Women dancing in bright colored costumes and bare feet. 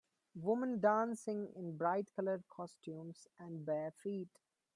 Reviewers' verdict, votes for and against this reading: rejected, 1, 2